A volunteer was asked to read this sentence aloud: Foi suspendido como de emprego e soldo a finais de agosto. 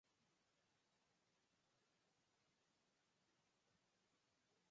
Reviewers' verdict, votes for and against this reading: rejected, 0, 2